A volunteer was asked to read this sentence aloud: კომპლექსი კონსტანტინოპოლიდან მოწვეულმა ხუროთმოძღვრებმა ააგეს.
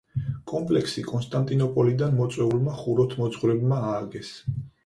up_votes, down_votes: 4, 0